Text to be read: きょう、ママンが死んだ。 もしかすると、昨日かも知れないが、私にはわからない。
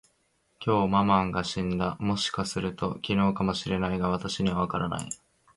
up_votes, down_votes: 1, 2